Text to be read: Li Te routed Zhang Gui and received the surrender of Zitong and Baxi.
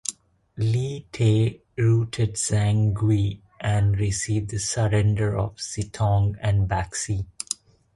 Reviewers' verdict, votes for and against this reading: rejected, 1, 2